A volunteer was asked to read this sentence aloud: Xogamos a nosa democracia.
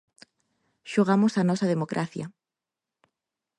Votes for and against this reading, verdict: 4, 0, accepted